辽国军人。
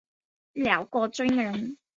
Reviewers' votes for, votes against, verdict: 2, 0, accepted